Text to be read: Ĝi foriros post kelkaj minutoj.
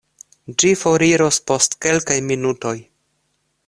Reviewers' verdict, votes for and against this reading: accepted, 2, 0